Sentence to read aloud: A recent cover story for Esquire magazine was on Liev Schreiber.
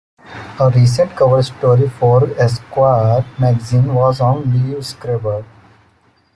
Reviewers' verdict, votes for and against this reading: accepted, 2, 0